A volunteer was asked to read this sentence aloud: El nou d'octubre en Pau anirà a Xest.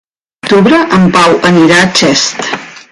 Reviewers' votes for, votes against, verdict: 0, 2, rejected